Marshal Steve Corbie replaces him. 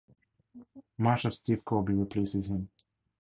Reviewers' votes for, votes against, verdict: 4, 0, accepted